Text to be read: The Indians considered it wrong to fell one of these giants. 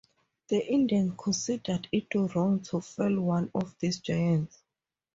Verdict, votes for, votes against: accepted, 2, 0